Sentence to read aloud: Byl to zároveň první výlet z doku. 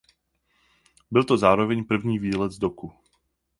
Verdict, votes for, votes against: accepted, 4, 0